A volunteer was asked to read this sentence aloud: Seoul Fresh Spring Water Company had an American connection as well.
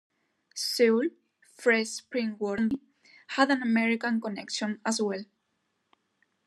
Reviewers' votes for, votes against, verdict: 2, 1, accepted